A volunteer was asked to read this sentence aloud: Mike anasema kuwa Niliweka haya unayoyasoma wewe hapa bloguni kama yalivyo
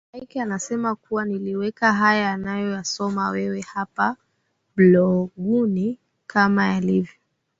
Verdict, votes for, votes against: accepted, 3, 0